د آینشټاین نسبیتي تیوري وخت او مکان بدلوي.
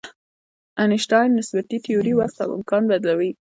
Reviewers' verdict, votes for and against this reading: rejected, 1, 2